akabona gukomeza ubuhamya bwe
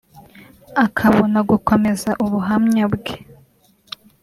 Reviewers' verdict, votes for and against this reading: rejected, 1, 2